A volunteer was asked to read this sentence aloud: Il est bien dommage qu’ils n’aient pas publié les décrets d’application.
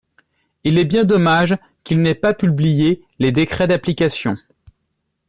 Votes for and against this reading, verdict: 2, 0, accepted